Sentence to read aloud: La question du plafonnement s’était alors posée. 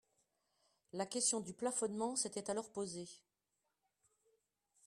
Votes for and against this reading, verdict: 2, 0, accepted